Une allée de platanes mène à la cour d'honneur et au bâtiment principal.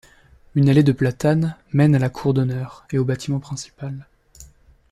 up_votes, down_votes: 2, 0